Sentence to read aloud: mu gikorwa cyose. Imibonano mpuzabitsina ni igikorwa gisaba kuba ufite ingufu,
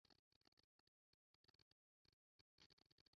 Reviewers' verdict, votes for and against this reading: rejected, 0, 2